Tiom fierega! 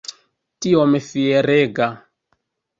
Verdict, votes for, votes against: rejected, 0, 2